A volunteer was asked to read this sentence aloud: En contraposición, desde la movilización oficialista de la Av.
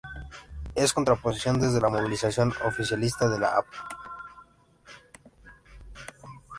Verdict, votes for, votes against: rejected, 0, 2